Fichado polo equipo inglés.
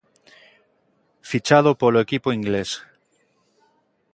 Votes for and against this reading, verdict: 2, 0, accepted